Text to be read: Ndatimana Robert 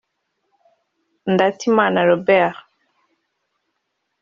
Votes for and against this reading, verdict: 2, 0, accepted